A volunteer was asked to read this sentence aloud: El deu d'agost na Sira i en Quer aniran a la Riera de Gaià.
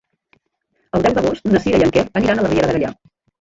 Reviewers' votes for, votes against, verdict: 1, 3, rejected